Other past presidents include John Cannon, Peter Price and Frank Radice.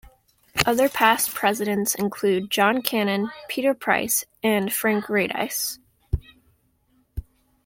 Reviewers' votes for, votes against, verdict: 2, 0, accepted